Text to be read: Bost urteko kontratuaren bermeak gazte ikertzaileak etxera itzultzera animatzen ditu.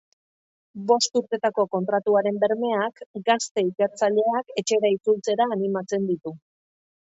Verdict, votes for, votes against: rejected, 0, 2